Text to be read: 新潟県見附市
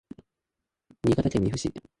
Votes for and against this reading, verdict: 0, 2, rejected